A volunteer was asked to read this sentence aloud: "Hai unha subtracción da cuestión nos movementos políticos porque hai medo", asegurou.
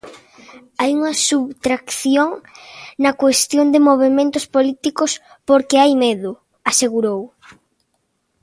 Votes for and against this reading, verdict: 0, 2, rejected